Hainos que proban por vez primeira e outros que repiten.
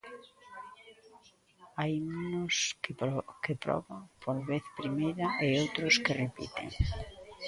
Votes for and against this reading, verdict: 0, 2, rejected